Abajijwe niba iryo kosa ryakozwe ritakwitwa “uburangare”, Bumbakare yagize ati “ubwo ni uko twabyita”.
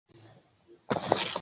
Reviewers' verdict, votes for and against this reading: rejected, 0, 2